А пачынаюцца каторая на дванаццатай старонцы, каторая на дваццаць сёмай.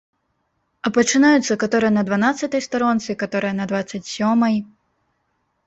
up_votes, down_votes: 2, 0